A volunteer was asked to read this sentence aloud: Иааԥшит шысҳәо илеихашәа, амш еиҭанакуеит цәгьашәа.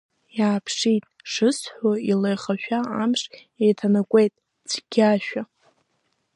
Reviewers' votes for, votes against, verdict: 3, 2, accepted